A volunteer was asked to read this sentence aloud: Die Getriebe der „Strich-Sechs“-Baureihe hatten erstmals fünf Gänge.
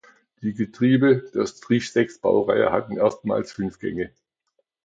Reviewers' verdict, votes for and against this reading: accepted, 2, 0